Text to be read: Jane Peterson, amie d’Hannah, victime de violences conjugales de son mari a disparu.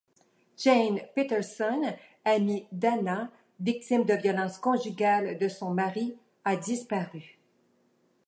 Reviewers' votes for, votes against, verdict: 2, 0, accepted